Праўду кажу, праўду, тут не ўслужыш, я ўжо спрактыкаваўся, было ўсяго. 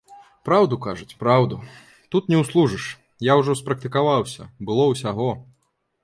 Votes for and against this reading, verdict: 0, 2, rejected